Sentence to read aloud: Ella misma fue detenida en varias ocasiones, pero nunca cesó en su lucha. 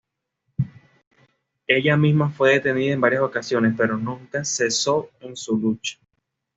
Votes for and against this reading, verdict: 2, 0, accepted